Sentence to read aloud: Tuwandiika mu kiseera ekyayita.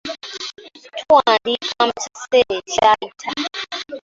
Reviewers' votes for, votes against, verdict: 0, 2, rejected